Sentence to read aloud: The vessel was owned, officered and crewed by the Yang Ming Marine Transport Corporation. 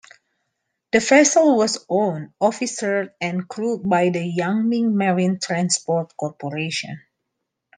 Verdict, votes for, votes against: accepted, 2, 1